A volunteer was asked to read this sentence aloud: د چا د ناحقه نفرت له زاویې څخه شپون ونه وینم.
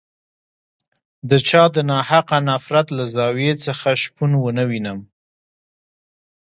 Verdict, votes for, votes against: rejected, 1, 2